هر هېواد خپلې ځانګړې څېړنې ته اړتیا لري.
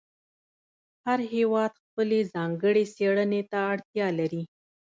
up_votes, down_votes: 2, 0